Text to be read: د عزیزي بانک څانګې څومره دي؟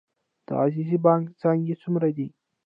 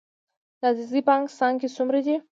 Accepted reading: second